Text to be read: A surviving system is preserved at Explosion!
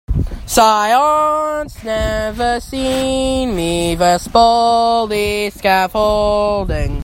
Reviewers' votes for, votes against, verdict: 1, 2, rejected